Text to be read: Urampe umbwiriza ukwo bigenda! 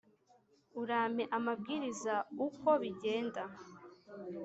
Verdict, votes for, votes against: rejected, 1, 2